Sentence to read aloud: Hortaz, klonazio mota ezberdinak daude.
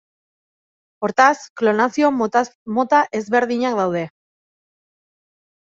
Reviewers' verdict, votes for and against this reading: rejected, 0, 2